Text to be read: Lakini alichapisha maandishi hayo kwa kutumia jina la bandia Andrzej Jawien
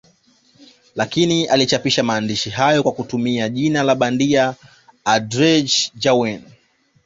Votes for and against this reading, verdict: 1, 2, rejected